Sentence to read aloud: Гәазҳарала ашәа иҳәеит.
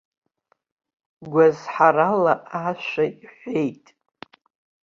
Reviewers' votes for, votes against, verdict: 2, 0, accepted